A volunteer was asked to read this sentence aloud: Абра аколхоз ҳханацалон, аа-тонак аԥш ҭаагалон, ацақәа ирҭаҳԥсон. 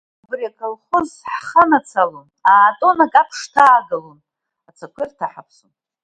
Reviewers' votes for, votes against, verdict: 0, 2, rejected